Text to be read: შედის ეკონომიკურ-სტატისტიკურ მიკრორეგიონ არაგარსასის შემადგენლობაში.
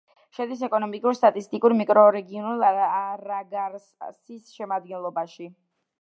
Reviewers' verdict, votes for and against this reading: rejected, 1, 2